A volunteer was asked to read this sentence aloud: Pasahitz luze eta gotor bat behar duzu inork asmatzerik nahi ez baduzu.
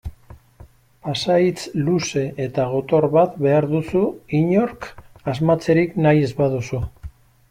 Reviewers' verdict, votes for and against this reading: accepted, 2, 0